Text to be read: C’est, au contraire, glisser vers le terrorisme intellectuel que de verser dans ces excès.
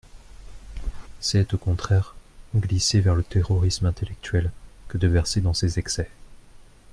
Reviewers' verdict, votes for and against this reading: accepted, 2, 0